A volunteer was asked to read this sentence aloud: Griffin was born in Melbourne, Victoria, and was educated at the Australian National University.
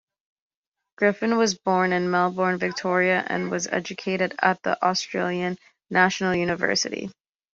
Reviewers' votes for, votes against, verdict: 2, 0, accepted